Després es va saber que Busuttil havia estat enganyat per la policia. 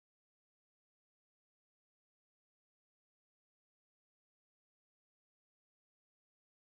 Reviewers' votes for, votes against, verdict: 0, 2, rejected